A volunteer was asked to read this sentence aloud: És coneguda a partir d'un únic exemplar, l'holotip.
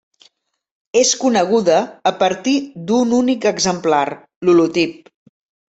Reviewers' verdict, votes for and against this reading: accepted, 3, 0